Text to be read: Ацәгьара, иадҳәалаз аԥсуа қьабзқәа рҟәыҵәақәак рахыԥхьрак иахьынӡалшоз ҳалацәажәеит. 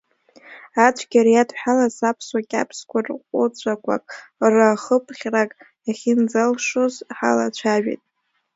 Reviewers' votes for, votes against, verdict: 1, 2, rejected